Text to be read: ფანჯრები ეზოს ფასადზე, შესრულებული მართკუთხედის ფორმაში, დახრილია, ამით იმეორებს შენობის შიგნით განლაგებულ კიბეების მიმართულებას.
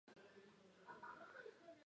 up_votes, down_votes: 0, 2